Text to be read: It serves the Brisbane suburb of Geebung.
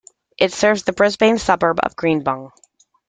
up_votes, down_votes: 1, 2